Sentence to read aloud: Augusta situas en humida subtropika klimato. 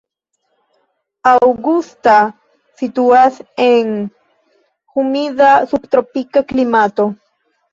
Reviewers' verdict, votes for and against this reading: rejected, 0, 2